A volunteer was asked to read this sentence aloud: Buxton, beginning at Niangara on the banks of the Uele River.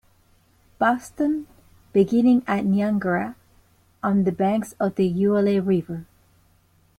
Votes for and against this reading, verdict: 2, 0, accepted